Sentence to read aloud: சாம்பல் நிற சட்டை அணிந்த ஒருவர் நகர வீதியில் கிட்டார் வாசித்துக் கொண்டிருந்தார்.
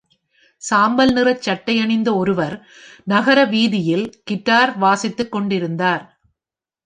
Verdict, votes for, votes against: accepted, 2, 0